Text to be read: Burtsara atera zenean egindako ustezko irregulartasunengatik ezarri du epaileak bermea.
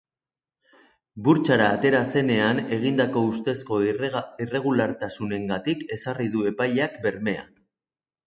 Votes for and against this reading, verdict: 0, 3, rejected